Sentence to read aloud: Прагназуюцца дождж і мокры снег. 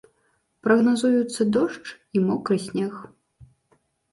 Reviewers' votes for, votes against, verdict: 2, 0, accepted